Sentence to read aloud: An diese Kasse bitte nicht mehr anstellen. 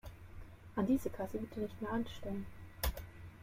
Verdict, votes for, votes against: accepted, 2, 0